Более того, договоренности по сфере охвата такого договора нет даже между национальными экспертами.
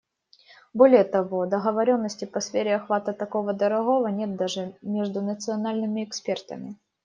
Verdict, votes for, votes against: rejected, 0, 2